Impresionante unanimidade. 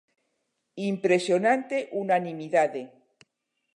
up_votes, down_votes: 2, 0